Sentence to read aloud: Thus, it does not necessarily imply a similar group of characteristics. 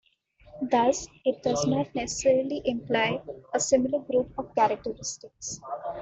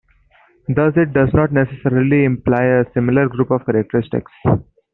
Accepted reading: second